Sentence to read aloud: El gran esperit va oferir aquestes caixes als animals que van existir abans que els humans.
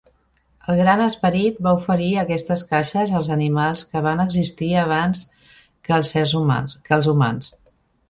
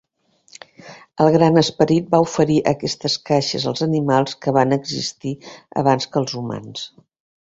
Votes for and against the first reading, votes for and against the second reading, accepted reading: 0, 2, 2, 0, second